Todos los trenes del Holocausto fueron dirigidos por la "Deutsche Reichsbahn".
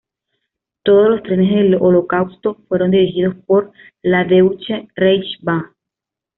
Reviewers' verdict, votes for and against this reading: rejected, 1, 2